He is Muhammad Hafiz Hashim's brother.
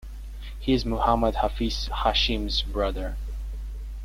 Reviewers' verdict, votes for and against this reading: accepted, 2, 1